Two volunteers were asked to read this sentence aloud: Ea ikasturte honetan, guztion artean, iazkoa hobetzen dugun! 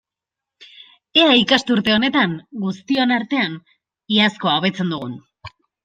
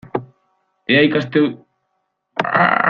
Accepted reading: first